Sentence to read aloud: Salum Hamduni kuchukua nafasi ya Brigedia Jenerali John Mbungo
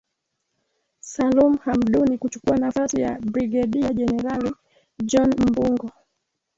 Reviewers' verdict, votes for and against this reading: rejected, 1, 2